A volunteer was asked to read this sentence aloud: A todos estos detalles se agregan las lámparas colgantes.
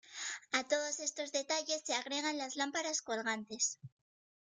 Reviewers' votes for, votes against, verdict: 2, 0, accepted